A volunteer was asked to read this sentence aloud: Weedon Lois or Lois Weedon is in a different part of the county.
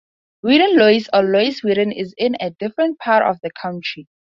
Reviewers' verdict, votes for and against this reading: accepted, 4, 2